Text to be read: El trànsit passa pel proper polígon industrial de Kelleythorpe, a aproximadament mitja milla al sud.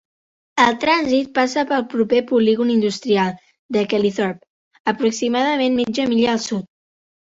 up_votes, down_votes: 2, 1